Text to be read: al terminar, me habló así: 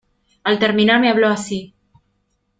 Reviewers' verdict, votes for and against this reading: accepted, 2, 0